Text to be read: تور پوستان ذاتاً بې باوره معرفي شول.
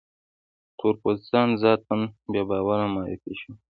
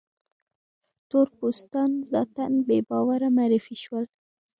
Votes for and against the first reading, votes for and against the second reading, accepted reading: 2, 1, 1, 2, first